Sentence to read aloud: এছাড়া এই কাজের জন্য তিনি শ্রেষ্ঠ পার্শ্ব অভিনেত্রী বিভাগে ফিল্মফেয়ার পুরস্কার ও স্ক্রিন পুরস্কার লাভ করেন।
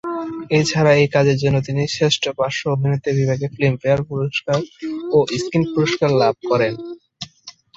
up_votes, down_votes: 1, 2